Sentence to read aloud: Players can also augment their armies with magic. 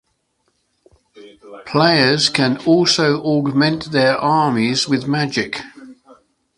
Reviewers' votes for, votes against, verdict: 2, 0, accepted